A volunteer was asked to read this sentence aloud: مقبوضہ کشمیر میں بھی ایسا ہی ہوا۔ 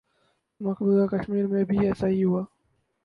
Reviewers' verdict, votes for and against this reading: rejected, 2, 2